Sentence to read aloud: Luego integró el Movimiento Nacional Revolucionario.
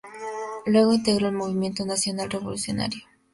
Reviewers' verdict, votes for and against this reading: accepted, 2, 0